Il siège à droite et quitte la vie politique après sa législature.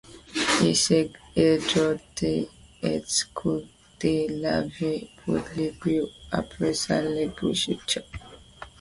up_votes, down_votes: 1, 2